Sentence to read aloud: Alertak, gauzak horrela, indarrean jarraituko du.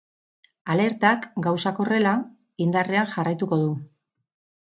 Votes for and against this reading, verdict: 2, 0, accepted